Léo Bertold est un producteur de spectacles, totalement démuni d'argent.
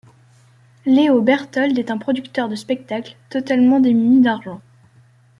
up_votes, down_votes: 2, 1